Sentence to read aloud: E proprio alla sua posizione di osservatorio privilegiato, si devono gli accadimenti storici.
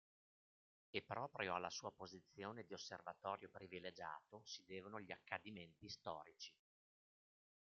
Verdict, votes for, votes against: rejected, 0, 2